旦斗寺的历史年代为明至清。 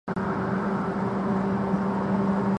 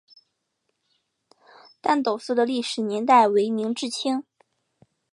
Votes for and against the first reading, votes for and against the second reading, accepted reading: 0, 2, 2, 0, second